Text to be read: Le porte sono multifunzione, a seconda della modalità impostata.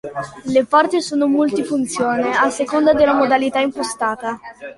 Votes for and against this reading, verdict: 1, 2, rejected